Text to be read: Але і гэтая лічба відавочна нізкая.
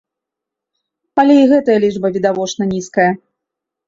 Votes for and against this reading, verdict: 2, 0, accepted